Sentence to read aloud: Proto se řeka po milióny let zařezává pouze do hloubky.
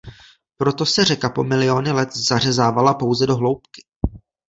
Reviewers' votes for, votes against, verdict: 1, 2, rejected